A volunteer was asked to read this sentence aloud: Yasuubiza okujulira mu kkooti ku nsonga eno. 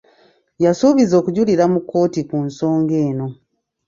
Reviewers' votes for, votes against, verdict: 2, 0, accepted